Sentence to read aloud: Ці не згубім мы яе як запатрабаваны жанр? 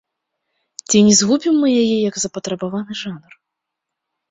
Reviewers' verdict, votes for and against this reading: accepted, 2, 0